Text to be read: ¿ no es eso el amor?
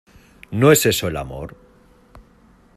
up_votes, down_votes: 2, 0